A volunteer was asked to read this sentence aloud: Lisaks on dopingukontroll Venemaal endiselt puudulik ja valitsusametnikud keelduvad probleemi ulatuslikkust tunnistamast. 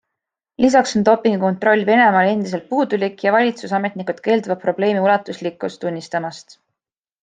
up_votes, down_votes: 3, 0